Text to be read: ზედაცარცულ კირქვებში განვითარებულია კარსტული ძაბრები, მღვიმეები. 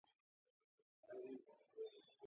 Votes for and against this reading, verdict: 1, 2, rejected